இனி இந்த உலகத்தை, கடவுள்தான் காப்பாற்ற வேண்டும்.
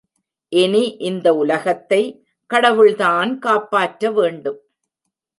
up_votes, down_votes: 2, 0